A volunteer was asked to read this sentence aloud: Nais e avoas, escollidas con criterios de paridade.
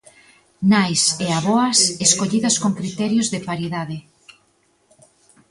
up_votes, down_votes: 2, 0